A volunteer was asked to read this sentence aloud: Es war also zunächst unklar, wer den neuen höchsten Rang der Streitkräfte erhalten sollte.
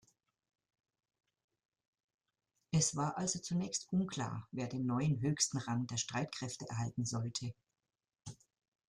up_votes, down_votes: 2, 0